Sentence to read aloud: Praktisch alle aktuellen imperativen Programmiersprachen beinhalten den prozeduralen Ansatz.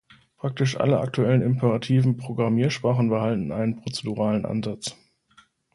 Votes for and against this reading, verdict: 1, 2, rejected